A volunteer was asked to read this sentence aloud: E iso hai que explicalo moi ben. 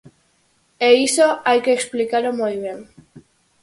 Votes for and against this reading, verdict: 4, 0, accepted